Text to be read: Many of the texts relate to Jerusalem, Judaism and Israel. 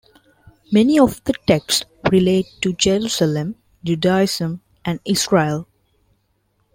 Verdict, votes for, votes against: accepted, 2, 1